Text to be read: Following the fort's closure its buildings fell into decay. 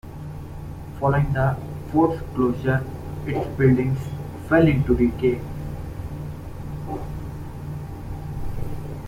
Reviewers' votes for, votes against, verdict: 0, 2, rejected